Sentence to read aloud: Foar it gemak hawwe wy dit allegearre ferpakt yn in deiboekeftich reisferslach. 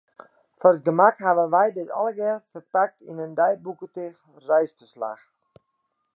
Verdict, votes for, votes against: rejected, 0, 2